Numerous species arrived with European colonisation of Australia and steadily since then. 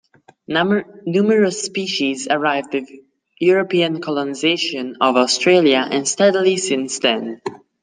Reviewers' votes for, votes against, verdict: 0, 2, rejected